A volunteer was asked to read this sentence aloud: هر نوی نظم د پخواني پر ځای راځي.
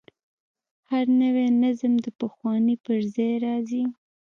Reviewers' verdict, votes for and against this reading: rejected, 1, 3